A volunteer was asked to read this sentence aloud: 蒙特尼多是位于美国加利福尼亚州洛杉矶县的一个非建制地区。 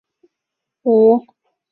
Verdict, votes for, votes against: rejected, 0, 2